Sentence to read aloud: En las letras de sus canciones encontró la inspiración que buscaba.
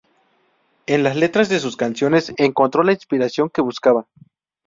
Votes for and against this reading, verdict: 0, 2, rejected